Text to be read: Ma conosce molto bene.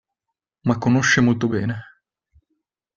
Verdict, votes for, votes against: accepted, 2, 0